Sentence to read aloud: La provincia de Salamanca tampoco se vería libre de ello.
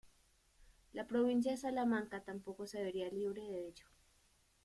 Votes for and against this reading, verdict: 2, 1, accepted